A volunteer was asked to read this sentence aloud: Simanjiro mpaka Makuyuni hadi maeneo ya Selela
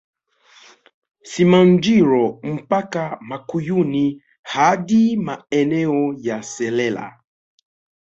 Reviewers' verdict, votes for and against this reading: accepted, 2, 0